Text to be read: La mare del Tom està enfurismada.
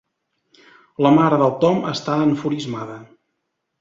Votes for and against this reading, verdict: 3, 0, accepted